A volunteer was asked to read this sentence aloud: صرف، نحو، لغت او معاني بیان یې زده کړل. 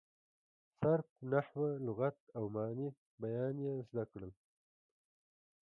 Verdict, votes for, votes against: accepted, 3, 1